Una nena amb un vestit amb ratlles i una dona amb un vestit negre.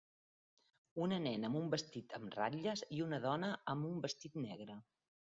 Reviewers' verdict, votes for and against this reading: accepted, 3, 0